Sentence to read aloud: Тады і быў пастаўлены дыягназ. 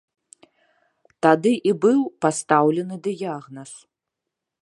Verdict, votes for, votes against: accepted, 2, 0